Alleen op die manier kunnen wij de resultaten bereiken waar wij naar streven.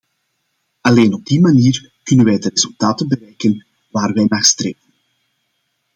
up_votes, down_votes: 0, 2